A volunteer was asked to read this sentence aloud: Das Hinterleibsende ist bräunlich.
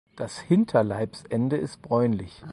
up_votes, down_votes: 4, 0